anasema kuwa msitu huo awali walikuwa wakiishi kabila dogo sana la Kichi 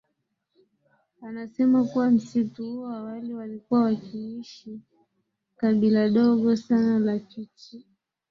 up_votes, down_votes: 6, 1